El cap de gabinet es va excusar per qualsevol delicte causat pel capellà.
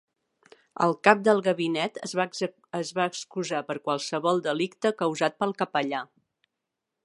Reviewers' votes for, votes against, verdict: 0, 4, rejected